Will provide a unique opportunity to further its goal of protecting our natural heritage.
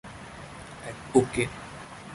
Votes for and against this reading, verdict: 0, 2, rejected